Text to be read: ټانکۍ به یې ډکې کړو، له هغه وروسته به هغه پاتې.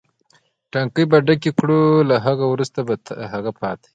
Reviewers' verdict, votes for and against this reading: accepted, 2, 1